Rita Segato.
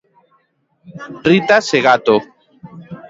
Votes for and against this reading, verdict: 0, 2, rejected